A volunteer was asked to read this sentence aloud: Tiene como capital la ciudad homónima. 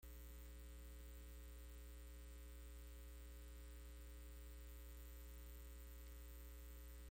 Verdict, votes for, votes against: rejected, 0, 2